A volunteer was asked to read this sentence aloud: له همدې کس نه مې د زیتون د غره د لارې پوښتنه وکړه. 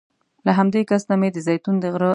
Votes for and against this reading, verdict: 0, 2, rejected